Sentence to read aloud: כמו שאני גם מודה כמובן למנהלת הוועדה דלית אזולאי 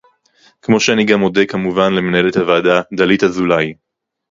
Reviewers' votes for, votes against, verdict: 4, 0, accepted